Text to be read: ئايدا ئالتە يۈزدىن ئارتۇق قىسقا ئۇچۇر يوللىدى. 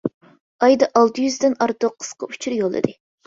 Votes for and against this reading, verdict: 2, 0, accepted